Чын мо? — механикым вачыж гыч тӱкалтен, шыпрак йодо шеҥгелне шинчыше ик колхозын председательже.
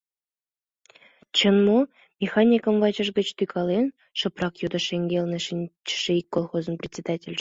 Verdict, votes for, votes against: rejected, 0, 2